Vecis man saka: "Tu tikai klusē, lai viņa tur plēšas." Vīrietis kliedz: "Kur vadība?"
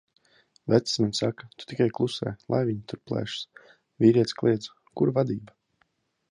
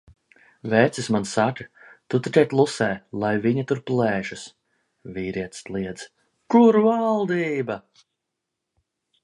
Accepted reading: first